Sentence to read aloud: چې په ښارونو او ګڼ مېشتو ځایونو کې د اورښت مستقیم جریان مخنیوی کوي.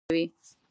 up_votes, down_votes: 1, 2